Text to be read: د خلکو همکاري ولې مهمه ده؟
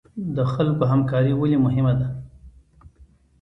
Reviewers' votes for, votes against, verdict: 2, 0, accepted